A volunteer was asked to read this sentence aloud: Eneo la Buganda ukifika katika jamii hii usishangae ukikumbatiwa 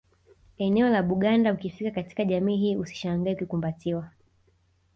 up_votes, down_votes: 2, 0